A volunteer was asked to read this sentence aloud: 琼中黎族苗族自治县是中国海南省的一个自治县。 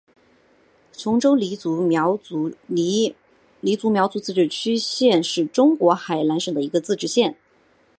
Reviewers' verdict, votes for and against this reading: rejected, 1, 2